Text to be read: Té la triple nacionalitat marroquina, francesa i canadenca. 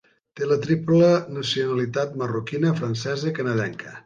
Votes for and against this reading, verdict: 2, 0, accepted